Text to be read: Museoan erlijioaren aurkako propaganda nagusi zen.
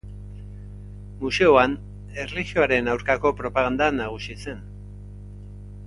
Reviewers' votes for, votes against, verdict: 2, 0, accepted